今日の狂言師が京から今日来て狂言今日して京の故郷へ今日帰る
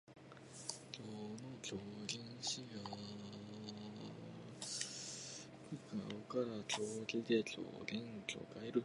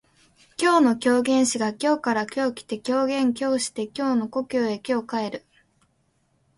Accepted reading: second